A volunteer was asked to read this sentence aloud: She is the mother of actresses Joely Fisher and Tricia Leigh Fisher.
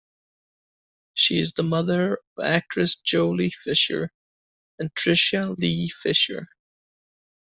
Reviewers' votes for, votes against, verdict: 1, 2, rejected